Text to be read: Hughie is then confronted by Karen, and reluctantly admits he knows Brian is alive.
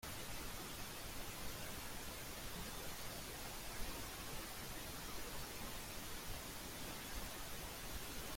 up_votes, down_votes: 0, 2